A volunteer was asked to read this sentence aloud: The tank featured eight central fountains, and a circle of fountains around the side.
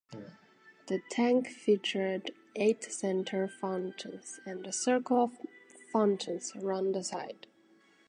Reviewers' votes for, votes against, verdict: 2, 0, accepted